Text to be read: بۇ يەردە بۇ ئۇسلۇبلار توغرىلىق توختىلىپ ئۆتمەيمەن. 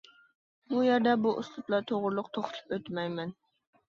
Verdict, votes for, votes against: rejected, 2, 3